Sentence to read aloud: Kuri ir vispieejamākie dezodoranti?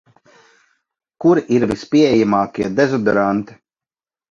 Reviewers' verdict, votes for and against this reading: accepted, 2, 0